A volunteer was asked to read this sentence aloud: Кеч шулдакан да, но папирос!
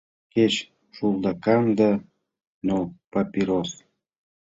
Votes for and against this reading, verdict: 2, 0, accepted